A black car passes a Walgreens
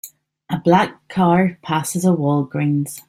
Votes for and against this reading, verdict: 3, 0, accepted